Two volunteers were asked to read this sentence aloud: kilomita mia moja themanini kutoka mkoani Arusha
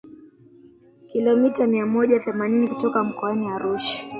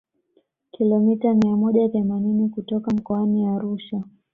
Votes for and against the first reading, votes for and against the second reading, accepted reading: 2, 3, 2, 0, second